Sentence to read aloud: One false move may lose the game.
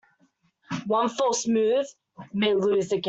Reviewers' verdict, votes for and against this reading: rejected, 0, 2